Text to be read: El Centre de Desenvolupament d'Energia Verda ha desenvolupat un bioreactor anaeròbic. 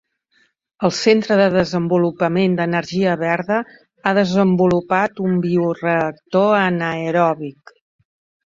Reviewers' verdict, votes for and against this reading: accepted, 2, 0